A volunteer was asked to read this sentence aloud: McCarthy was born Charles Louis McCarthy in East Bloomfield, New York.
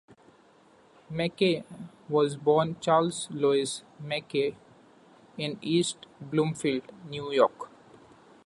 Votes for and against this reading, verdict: 0, 2, rejected